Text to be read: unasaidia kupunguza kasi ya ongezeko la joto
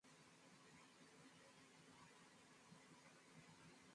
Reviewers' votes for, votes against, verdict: 0, 4, rejected